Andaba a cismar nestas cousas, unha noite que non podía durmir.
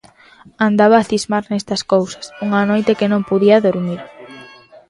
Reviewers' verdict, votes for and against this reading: rejected, 1, 2